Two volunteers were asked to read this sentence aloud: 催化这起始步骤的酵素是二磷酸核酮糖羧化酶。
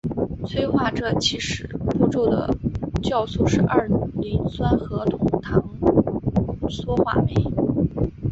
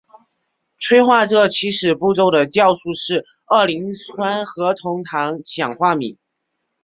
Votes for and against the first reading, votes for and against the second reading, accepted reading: 3, 0, 1, 2, first